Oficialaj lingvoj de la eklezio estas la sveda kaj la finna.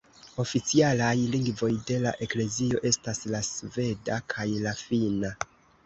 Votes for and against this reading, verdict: 2, 1, accepted